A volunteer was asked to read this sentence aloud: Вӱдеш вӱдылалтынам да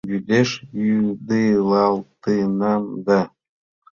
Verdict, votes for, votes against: accepted, 2, 1